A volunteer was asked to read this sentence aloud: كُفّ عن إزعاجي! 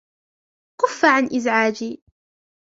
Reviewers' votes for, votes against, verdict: 3, 2, accepted